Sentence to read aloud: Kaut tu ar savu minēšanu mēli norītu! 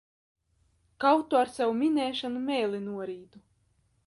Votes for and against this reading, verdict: 2, 1, accepted